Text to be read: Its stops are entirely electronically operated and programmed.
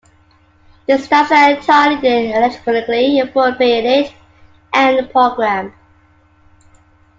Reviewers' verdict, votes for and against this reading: rejected, 1, 2